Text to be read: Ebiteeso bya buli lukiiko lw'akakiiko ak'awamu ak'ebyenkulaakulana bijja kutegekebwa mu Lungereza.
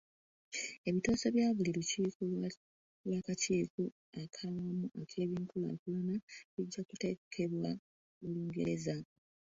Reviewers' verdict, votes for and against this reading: rejected, 0, 2